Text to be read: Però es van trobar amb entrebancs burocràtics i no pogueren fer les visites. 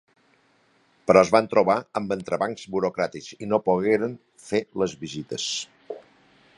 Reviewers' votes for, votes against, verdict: 4, 1, accepted